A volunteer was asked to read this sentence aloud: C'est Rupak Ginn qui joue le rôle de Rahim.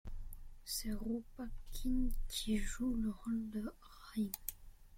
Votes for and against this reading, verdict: 0, 2, rejected